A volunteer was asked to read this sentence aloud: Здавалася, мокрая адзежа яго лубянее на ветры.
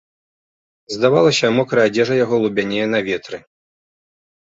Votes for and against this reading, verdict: 2, 0, accepted